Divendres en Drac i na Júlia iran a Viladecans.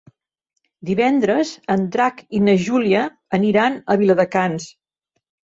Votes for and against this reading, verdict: 0, 2, rejected